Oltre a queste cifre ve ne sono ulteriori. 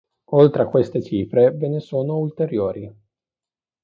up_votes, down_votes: 2, 0